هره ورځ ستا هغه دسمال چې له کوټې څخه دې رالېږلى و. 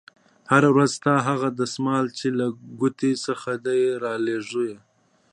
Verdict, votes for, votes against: rejected, 1, 2